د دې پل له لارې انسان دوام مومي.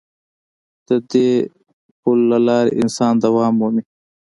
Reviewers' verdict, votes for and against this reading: accepted, 2, 0